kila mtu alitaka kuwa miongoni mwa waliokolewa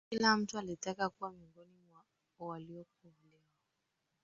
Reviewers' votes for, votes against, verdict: 3, 2, accepted